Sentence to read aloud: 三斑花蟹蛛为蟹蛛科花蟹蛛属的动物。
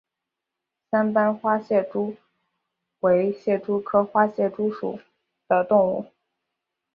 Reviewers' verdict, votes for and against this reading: accepted, 2, 0